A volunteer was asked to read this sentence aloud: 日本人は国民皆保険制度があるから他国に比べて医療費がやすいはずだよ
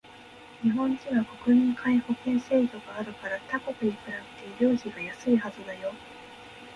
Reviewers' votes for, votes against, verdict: 2, 0, accepted